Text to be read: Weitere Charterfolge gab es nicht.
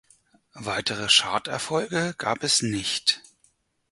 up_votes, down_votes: 4, 2